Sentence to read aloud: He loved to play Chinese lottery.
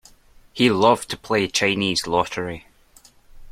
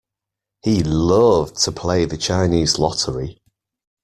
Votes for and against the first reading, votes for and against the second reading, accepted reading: 2, 0, 1, 2, first